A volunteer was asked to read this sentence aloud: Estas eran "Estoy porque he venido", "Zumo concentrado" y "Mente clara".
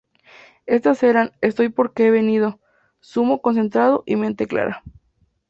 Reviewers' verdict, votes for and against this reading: accepted, 2, 0